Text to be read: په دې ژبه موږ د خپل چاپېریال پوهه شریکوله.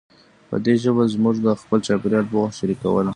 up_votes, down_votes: 2, 1